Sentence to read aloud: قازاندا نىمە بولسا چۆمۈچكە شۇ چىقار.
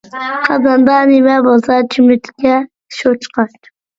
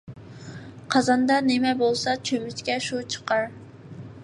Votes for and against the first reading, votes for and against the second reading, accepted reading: 0, 2, 2, 0, second